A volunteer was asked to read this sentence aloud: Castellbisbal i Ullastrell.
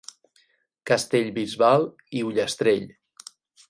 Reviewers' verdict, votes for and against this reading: accepted, 8, 0